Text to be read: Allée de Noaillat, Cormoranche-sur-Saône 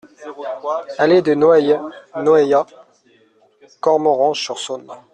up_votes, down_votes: 0, 2